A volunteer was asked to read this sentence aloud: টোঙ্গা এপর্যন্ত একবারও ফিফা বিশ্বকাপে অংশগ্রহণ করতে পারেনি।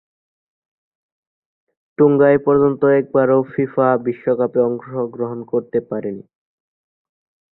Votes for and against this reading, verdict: 5, 1, accepted